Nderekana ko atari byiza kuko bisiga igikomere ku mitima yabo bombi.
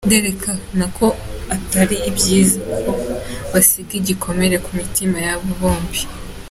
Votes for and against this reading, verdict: 3, 1, accepted